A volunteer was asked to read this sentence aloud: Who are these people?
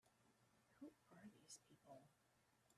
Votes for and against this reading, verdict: 2, 3, rejected